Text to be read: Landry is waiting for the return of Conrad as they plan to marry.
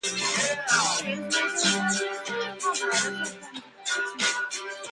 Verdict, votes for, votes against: rejected, 0, 2